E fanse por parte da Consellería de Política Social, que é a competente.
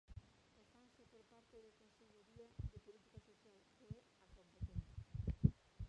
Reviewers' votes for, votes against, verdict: 0, 2, rejected